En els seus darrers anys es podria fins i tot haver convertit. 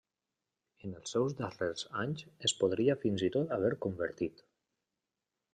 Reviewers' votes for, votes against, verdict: 1, 2, rejected